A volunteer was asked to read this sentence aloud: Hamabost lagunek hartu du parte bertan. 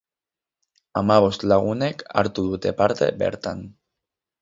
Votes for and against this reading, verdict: 4, 4, rejected